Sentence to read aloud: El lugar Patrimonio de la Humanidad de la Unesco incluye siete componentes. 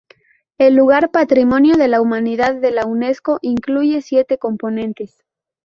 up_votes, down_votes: 0, 2